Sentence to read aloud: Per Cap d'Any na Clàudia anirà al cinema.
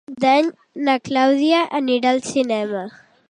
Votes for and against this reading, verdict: 0, 2, rejected